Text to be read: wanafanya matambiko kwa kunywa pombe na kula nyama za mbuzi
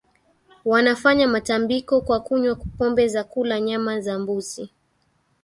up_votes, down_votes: 1, 2